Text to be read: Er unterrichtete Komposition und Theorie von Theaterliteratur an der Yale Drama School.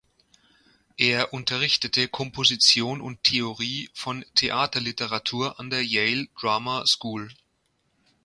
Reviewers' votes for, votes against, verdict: 2, 0, accepted